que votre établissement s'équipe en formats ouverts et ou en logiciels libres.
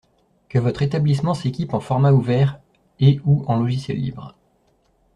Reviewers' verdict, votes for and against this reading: accepted, 2, 0